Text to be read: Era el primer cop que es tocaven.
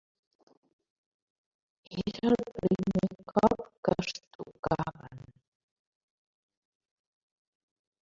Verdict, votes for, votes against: rejected, 0, 2